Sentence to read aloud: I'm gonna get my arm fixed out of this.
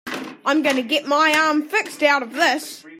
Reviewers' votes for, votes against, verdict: 3, 0, accepted